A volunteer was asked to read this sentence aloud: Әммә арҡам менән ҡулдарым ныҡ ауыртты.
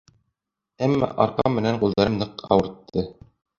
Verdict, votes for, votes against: rejected, 1, 2